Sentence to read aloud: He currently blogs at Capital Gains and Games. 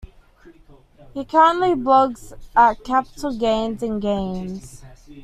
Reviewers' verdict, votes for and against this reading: accepted, 2, 0